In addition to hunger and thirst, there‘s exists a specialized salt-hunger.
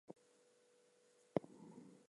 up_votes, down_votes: 0, 4